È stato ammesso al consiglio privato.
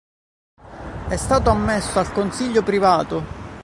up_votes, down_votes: 0, 3